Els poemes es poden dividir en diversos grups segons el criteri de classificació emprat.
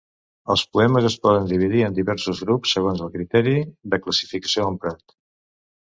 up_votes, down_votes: 1, 2